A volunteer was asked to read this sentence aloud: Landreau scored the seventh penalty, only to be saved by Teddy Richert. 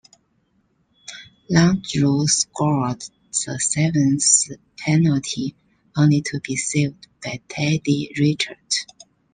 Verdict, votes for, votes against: accepted, 2, 1